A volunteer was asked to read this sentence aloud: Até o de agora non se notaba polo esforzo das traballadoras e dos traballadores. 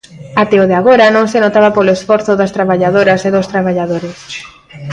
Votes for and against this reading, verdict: 0, 2, rejected